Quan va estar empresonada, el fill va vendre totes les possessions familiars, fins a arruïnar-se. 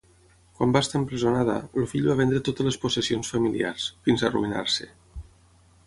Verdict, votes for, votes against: accepted, 6, 0